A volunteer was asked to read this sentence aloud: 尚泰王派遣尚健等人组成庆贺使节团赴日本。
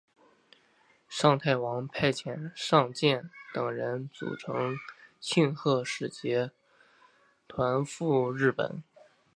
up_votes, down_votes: 2, 0